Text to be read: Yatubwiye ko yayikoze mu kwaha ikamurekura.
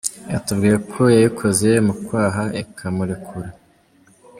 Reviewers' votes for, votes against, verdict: 0, 2, rejected